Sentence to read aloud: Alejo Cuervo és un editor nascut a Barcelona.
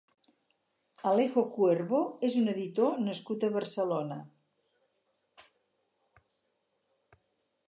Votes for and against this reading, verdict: 2, 2, rejected